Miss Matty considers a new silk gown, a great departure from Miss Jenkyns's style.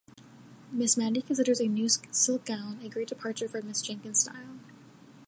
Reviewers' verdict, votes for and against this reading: rejected, 1, 2